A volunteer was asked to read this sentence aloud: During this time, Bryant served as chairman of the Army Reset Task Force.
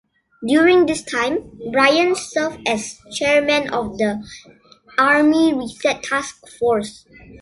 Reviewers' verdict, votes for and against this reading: accepted, 2, 0